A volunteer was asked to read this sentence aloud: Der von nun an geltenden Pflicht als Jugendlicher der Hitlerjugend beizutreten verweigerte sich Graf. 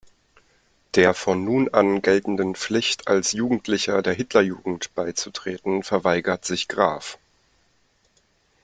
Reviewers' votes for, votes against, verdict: 1, 2, rejected